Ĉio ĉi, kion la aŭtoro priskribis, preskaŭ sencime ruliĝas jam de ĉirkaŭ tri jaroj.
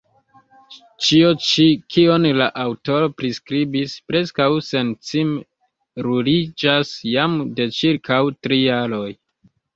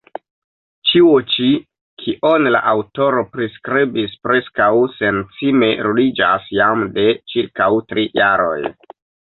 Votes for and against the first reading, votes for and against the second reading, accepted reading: 0, 2, 2, 1, second